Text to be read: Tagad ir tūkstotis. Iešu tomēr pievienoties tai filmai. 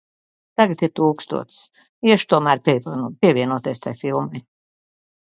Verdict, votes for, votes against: rejected, 0, 2